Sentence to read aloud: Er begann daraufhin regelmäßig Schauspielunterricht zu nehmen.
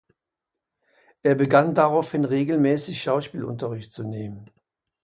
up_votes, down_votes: 2, 0